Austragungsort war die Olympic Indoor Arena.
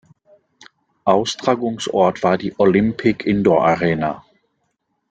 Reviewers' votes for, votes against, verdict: 2, 0, accepted